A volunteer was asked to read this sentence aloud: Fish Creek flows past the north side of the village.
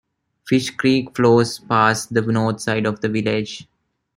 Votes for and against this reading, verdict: 2, 0, accepted